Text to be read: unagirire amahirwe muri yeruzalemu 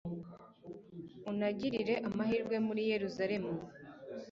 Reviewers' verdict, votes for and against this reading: accepted, 2, 0